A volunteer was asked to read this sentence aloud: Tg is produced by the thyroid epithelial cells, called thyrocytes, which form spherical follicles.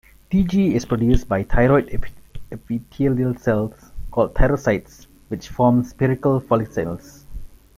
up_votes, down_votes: 0, 2